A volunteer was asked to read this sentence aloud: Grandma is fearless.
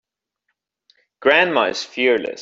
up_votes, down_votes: 3, 1